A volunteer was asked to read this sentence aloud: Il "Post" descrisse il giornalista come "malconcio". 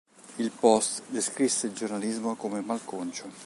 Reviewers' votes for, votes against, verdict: 1, 2, rejected